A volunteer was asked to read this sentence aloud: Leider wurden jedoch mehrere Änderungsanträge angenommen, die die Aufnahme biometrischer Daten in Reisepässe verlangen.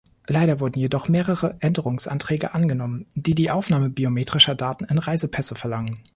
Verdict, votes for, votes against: accepted, 2, 0